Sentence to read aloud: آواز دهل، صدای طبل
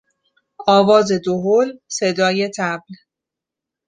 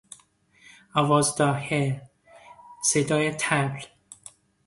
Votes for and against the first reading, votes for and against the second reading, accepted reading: 2, 0, 0, 2, first